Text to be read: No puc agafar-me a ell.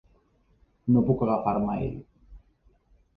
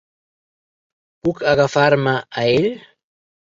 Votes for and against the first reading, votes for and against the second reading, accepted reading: 2, 0, 0, 2, first